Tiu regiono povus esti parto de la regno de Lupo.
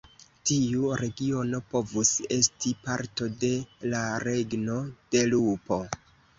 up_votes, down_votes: 2, 0